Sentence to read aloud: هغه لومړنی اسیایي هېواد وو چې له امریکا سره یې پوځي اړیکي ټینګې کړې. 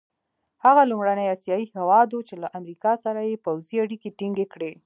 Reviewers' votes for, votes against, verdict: 3, 1, accepted